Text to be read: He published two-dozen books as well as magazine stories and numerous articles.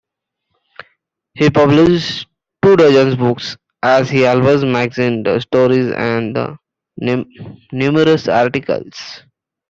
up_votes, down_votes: 0, 2